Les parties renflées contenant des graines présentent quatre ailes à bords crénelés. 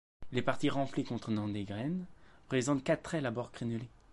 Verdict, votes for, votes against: accepted, 2, 0